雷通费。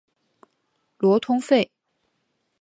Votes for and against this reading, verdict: 8, 1, accepted